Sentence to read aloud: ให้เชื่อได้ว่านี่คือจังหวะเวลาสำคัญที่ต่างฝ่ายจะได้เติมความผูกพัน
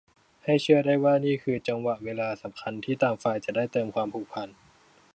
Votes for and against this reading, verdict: 2, 0, accepted